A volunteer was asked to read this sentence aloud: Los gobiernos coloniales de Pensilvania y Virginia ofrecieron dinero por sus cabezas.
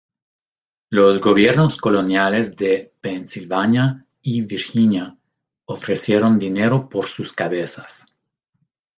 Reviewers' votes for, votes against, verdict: 2, 0, accepted